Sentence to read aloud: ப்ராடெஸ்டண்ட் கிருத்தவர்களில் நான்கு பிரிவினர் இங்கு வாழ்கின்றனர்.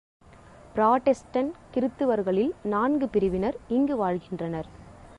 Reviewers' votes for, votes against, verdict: 2, 0, accepted